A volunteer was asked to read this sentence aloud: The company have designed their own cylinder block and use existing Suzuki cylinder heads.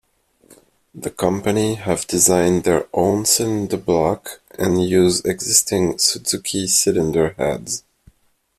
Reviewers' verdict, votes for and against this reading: accepted, 2, 1